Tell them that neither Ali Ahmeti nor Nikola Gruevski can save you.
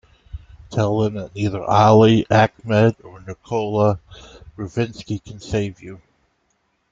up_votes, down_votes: 0, 2